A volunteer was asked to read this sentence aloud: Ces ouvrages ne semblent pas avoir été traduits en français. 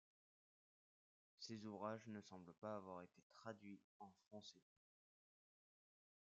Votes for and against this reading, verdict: 2, 1, accepted